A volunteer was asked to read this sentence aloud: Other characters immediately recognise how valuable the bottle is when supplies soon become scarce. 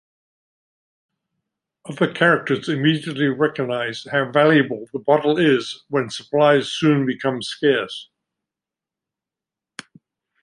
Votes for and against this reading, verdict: 2, 0, accepted